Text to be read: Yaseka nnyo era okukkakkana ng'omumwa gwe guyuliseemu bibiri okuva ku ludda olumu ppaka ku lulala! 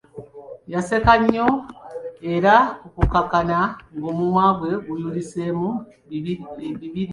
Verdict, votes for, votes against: rejected, 1, 2